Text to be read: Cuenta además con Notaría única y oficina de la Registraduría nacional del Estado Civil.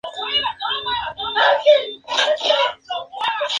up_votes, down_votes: 0, 2